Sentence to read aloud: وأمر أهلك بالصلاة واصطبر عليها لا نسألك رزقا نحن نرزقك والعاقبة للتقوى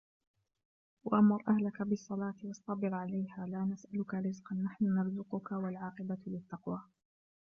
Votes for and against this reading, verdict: 0, 2, rejected